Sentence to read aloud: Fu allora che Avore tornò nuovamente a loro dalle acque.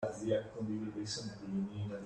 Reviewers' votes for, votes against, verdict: 0, 2, rejected